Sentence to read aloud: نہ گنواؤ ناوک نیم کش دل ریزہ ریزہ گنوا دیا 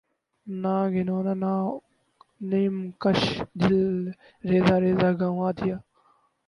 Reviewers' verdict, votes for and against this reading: rejected, 0, 2